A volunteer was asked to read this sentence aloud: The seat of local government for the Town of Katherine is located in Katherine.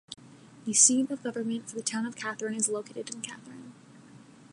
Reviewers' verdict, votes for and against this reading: rejected, 1, 3